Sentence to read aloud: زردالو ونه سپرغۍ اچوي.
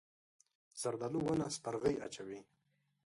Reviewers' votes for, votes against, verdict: 0, 2, rejected